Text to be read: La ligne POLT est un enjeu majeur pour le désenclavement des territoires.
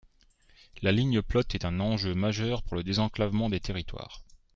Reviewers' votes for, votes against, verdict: 0, 3, rejected